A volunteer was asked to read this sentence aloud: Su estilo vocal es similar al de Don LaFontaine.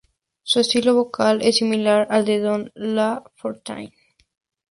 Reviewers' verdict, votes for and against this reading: accepted, 2, 0